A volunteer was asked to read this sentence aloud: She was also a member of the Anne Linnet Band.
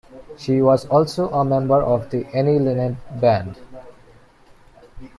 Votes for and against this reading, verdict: 0, 2, rejected